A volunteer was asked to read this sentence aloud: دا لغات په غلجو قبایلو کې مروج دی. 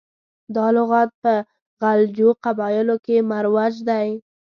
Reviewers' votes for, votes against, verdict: 1, 2, rejected